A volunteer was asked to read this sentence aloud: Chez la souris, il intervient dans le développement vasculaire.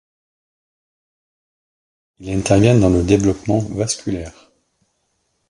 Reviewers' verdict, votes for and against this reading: rejected, 1, 2